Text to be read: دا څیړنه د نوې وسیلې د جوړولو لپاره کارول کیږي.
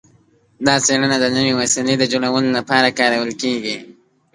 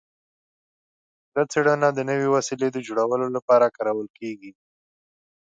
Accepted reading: second